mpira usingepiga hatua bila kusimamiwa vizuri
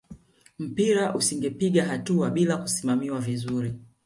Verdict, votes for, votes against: accepted, 5, 0